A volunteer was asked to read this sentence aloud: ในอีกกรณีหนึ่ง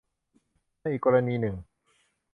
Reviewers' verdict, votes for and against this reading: accepted, 2, 0